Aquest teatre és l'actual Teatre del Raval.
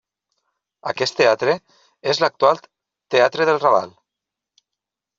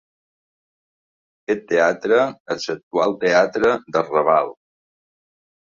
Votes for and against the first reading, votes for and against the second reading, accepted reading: 2, 0, 1, 2, first